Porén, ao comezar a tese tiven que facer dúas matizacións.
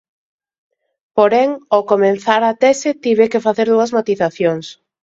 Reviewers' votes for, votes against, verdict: 2, 0, accepted